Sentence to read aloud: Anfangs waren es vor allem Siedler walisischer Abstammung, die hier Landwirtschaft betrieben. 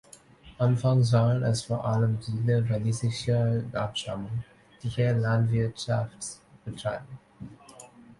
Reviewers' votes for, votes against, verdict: 0, 2, rejected